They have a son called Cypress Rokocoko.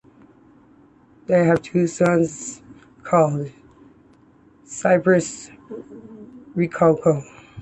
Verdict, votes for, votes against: accepted, 2, 1